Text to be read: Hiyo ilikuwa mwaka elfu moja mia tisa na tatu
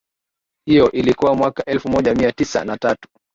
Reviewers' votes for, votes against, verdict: 2, 0, accepted